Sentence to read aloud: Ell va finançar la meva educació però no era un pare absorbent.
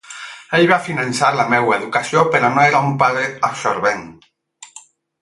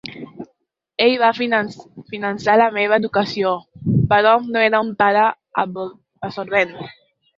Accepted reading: first